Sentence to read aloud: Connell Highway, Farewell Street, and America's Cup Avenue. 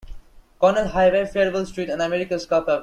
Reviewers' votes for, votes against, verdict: 0, 2, rejected